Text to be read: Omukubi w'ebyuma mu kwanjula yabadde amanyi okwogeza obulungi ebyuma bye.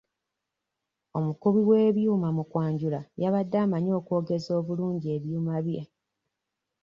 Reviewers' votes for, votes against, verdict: 2, 0, accepted